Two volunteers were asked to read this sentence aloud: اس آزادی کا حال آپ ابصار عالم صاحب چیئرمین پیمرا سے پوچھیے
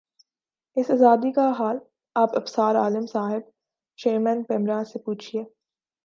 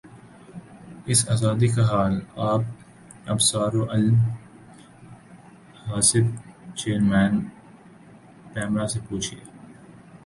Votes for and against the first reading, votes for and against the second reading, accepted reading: 2, 0, 2, 3, first